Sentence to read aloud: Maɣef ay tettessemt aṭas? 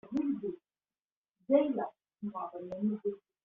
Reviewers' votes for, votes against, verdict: 0, 2, rejected